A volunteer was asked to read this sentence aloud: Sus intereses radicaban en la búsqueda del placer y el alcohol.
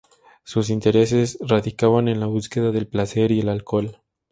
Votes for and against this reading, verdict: 2, 0, accepted